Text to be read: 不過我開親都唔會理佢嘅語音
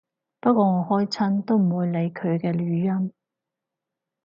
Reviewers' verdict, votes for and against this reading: accepted, 4, 0